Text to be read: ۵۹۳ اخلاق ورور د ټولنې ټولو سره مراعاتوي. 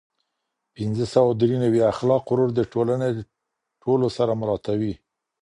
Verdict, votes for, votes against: rejected, 0, 2